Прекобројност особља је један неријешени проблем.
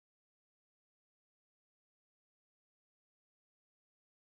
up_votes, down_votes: 0, 2